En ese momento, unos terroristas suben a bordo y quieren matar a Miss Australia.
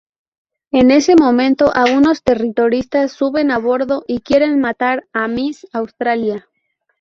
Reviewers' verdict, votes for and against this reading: rejected, 0, 4